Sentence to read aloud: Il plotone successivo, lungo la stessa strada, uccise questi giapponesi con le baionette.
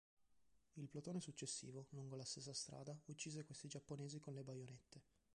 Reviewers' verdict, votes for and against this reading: accepted, 2, 1